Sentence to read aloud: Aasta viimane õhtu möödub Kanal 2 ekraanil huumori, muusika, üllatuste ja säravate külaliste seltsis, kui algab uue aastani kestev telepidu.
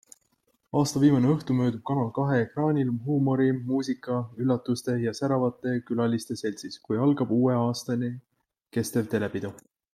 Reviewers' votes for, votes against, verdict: 0, 2, rejected